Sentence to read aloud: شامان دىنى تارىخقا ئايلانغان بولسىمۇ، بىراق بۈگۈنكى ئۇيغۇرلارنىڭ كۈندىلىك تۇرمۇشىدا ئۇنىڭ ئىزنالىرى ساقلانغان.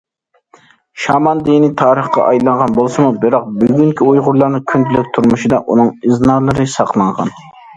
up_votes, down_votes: 2, 0